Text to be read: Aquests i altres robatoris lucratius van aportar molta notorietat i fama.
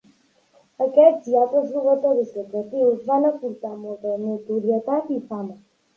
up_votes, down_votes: 3, 0